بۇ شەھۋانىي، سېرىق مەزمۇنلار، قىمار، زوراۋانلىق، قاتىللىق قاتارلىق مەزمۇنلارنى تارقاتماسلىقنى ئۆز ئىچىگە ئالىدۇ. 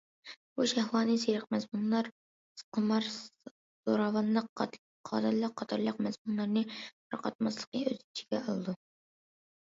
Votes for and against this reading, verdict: 0, 2, rejected